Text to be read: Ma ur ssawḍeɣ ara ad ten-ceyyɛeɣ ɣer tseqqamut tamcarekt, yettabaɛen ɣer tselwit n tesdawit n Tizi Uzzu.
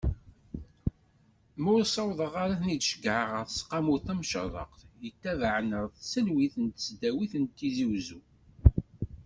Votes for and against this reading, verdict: 1, 2, rejected